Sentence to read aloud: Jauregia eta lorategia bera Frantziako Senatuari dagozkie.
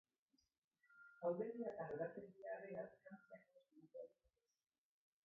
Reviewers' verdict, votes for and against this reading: rejected, 0, 2